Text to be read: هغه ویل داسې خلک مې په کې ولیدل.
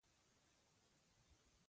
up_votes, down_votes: 1, 2